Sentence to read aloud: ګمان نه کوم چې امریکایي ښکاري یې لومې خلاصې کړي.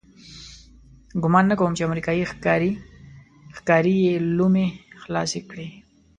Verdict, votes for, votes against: accepted, 2, 1